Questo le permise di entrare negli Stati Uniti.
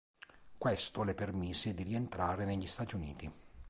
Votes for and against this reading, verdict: 1, 2, rejected